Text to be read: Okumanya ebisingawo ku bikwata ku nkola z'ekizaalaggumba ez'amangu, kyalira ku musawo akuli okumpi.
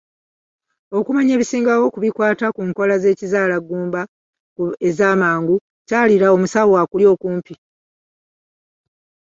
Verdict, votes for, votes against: accepted, 2, 0